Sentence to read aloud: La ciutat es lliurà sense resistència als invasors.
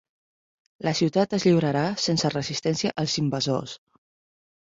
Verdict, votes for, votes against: rejected, 2, 6